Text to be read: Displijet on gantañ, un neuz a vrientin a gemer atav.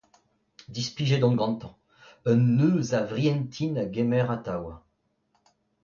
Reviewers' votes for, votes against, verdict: 2, 0, accepted